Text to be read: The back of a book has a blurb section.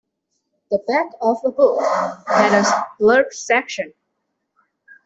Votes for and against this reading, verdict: 2, 1, accepted